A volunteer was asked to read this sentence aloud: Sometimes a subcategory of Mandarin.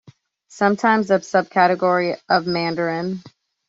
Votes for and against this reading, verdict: 1, 2, rejected